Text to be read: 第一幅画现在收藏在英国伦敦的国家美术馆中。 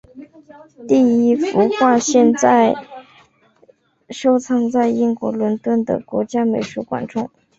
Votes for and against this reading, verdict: 5, 1, accepted